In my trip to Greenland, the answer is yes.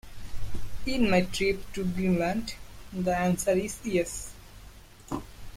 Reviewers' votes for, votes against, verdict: 2, 1, accepted